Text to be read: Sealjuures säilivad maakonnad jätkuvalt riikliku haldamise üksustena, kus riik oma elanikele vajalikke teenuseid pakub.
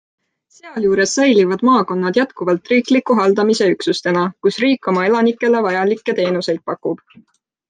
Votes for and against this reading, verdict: 2, 0, accepted